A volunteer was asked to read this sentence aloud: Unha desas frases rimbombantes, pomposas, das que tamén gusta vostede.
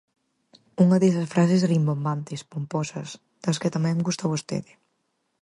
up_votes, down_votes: 4, 2